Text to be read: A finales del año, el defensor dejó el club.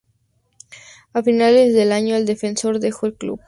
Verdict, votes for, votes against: rejected, 0, 2